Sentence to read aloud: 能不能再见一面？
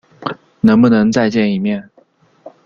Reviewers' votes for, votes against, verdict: 0, 2, rejected